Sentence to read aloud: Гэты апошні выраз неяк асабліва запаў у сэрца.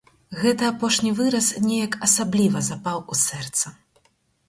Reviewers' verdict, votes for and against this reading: accepted, 4, 0